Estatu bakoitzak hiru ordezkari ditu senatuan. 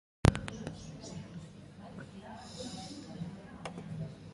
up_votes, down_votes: 0, 3